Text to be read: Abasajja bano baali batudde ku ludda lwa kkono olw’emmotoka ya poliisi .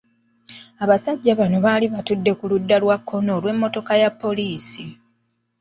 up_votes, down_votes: 2, 0